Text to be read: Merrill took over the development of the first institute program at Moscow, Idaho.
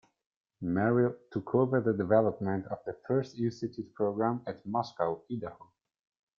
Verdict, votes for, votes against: rejected, 1, 2